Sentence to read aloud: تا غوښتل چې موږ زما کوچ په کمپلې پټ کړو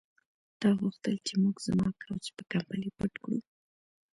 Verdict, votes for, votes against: rejected, 1, 2